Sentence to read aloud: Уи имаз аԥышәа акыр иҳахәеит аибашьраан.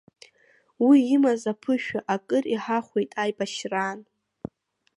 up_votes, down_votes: 2, 0